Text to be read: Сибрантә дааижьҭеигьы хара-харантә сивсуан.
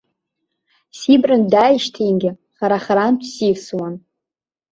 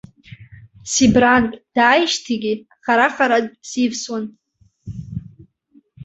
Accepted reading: first